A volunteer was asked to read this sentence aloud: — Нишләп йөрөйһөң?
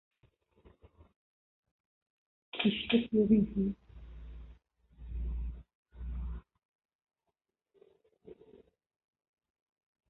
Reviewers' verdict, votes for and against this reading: rejected, 0, 2